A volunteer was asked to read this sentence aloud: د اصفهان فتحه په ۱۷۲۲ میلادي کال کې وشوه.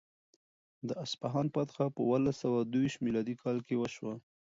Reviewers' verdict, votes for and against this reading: rejected, 0, 2